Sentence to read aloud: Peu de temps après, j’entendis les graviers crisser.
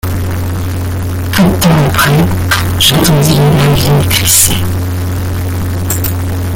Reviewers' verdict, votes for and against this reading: rejected, 0, 2